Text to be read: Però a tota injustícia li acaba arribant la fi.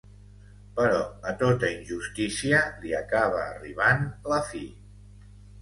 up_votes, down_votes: 2, 0